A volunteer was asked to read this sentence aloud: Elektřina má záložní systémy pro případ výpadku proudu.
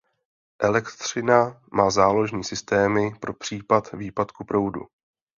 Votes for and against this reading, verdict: 2, 0, accepted